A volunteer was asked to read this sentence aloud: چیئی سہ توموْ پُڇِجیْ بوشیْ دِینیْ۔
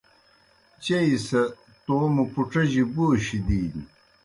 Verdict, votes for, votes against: accepted, 2, 0